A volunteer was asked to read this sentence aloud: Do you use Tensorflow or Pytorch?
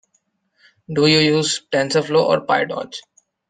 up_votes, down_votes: 2, 1